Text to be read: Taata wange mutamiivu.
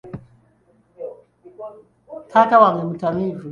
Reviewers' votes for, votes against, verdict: 2, 0, accepted